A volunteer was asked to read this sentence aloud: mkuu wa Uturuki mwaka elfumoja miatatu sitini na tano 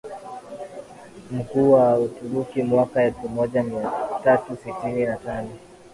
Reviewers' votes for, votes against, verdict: 1, 2, rejected